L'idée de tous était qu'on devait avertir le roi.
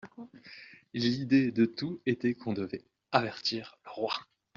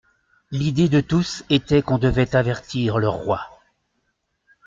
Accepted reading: second